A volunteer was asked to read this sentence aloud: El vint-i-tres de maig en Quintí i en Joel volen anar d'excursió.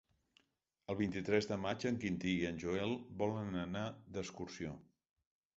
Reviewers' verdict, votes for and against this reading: rejected, 1, 2